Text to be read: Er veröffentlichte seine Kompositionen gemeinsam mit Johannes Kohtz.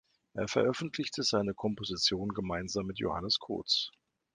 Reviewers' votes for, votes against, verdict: 3, 2, accepted